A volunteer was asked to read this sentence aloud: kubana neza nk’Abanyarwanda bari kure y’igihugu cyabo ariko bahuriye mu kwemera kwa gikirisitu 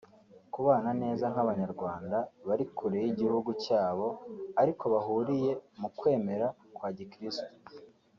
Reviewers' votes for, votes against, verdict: 2, 0, accepted